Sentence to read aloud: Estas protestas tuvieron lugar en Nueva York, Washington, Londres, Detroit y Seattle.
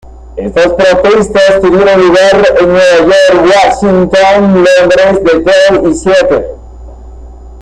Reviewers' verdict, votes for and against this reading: accepted, 2, 0